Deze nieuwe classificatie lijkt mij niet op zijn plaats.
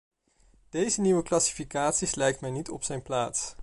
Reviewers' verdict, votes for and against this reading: rejected, 1, 2